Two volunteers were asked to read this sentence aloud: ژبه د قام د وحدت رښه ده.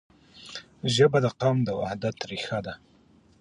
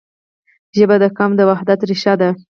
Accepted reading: first